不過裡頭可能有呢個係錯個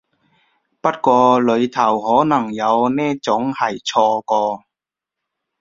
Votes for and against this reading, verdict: 1, 2, rejected